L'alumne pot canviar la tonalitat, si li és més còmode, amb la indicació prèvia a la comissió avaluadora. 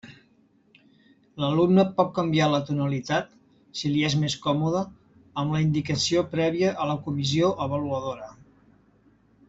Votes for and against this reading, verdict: 1, 2, rejected